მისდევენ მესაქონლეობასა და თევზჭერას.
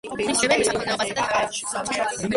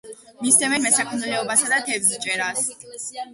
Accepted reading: second